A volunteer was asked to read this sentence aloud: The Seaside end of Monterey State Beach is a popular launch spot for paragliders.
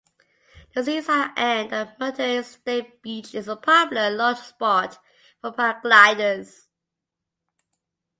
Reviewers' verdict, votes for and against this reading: rejected, 0, 2